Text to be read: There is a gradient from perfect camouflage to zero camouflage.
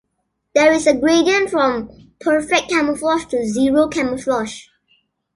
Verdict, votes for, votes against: accepted, 2, 0